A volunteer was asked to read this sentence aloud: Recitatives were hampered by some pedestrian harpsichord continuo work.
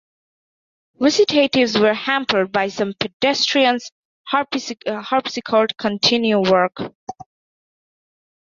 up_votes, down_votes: 0, 2